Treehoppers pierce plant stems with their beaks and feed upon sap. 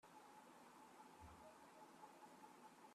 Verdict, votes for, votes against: rejected, 0, 2